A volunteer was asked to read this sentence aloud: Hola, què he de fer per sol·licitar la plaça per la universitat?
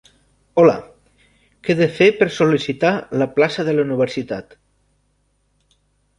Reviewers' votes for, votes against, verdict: 0, 2, rejected